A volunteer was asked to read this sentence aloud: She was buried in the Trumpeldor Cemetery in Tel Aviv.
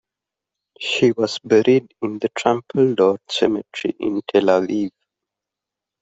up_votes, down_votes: 2, 0